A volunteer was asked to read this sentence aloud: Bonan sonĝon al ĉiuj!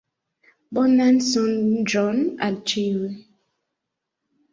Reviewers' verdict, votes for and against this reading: accepted, 2, 1